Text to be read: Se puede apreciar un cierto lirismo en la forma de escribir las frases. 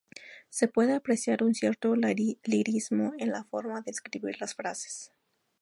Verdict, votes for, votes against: rejected, 0, 2